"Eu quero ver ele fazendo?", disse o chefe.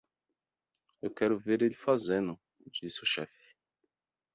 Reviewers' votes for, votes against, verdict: 2, 0, accepted